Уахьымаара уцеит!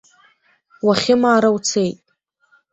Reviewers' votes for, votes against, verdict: 0, 2, rejected